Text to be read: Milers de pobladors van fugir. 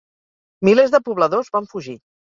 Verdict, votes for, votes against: accepted, 4, 0